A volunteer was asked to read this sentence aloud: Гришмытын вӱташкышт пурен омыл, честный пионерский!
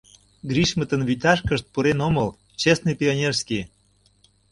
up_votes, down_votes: 2, 0